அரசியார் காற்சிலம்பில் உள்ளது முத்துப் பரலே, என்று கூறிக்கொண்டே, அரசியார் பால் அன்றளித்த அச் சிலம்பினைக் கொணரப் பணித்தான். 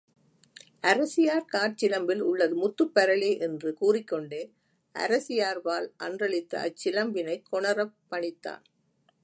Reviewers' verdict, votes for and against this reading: rejected, 0, 2